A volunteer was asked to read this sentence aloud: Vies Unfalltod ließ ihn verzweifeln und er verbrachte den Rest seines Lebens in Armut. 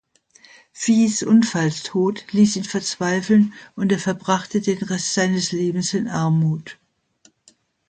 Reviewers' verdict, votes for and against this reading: accepted, 2, 1